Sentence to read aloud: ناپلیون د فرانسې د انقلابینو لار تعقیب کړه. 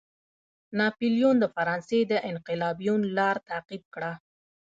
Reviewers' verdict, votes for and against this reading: rejected, 1, 2